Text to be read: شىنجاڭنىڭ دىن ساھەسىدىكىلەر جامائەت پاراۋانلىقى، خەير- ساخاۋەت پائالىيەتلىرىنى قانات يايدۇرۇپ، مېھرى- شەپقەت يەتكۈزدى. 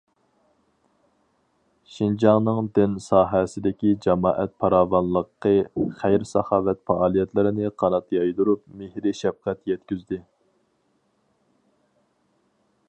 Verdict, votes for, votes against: rejected, 0, 4